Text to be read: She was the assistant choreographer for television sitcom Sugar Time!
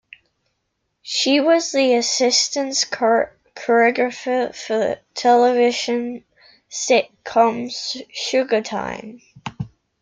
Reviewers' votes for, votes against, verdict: 0, 2, rejected